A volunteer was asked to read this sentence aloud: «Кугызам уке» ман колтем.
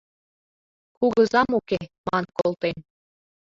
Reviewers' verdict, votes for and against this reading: accepted, 2, 0